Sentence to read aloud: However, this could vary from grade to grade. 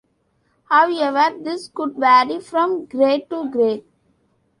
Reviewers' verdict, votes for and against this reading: rejected, 1, 2